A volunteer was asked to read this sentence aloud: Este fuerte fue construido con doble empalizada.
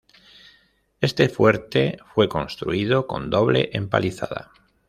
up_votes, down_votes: 2, 0